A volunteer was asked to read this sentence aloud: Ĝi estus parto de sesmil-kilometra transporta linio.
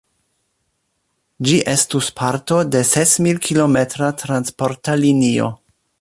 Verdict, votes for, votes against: accepted, 2, 0